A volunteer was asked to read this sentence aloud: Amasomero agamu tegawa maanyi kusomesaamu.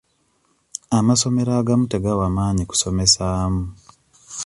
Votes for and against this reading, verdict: 2, 0, accepted